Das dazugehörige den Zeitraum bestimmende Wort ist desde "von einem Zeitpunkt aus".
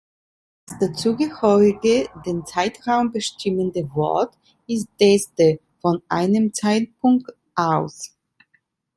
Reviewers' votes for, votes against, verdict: 1, 2, rejected